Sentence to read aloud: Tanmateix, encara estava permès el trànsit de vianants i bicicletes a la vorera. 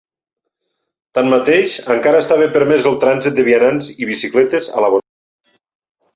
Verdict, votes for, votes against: rejected, 0, 2